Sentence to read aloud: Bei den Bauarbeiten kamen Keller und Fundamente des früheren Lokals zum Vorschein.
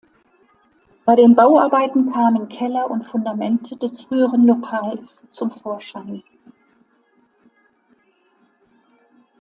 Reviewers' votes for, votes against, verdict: 2, 0, accepted